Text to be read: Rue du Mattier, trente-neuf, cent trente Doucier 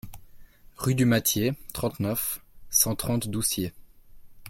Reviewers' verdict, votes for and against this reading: accepted, 2, 0